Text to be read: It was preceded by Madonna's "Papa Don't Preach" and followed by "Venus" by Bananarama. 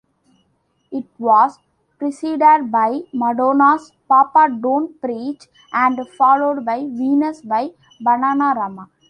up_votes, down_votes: 2, 0